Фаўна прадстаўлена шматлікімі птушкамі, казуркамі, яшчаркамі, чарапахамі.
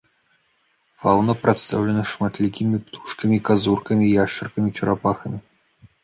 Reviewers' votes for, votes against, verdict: 1, 2, rejected